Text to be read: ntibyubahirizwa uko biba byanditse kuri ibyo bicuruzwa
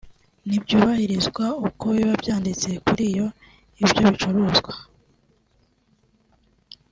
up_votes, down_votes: 1, 2